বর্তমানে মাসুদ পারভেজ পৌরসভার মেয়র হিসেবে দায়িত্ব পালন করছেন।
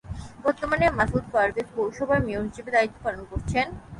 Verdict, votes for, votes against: accepted, 6, 0